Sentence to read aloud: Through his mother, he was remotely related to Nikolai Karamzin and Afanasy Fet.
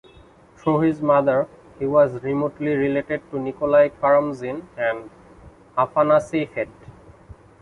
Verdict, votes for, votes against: accepted, 2, 0